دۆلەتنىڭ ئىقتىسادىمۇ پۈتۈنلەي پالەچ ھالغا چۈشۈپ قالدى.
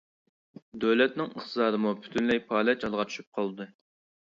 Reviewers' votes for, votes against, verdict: 2, 0, accepted